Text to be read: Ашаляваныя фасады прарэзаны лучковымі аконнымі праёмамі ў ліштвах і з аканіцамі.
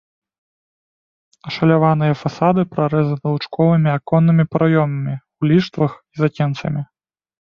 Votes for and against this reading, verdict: 0, 2, rejected